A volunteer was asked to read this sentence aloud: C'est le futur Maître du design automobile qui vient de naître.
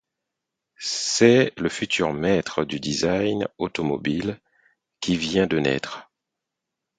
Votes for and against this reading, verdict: 4, 0, accepted